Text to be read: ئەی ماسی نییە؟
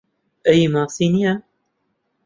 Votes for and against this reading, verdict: 2, 0, accepted